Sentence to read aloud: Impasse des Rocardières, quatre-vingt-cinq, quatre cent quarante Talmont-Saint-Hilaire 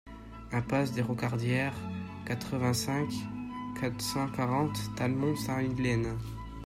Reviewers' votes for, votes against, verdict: 0, 2, rejected